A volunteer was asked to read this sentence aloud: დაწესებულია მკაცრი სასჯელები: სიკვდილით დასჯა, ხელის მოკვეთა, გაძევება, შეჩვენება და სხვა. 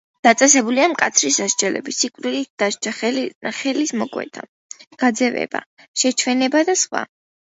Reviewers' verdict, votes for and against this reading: accepted, 2, 0